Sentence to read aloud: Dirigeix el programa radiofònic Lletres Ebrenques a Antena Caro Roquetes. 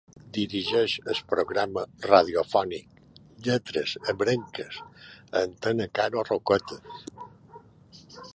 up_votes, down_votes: 2, 1